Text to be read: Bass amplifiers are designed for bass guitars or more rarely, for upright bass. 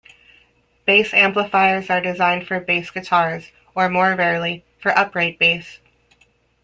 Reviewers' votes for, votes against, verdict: 2, 0, accepted